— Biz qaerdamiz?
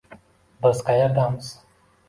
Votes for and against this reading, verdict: 2, 0, accepted